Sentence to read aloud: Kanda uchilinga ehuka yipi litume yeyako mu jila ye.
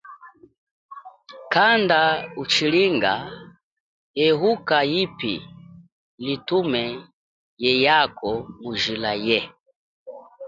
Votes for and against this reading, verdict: 3, 0, accepted